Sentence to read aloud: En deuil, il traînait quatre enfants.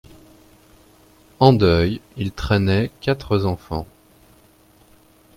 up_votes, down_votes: 0, 2